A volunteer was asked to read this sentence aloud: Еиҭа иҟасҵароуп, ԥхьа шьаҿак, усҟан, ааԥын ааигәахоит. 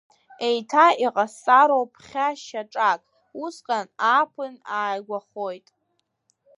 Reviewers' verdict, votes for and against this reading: accepted, 2, 0